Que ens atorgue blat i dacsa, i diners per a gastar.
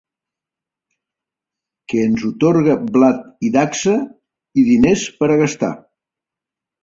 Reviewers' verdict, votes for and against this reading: rejected, 1, 3